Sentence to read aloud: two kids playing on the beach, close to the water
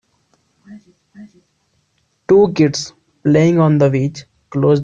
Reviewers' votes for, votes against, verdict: 0, 2, rejected